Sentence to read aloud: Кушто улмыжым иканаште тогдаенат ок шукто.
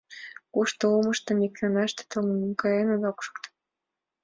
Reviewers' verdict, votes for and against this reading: rejected, 0, 2